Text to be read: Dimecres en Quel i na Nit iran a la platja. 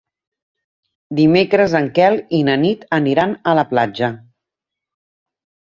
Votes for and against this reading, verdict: 0, 2, rejected